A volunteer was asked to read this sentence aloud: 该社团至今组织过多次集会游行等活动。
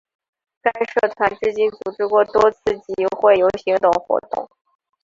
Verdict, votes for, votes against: accepted, 2, 0